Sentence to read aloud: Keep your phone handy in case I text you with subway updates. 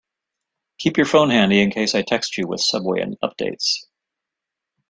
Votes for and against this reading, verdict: 3, 0, accepted